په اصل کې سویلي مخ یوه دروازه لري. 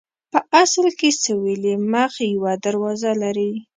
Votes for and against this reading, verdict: 2, 0, accepted